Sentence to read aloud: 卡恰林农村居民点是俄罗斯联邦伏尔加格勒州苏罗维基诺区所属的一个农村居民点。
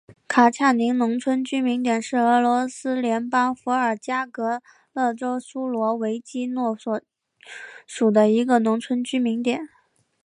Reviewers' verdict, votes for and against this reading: accepted, 2, 0